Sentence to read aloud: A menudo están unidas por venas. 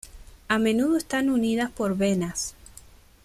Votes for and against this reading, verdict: 2, 1, accepted